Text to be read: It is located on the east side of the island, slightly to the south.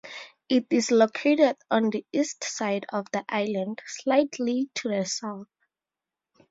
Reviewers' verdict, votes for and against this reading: accepted, 2, 0